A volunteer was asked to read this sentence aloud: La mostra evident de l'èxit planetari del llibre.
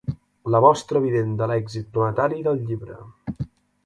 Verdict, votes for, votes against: accepted, 2, 0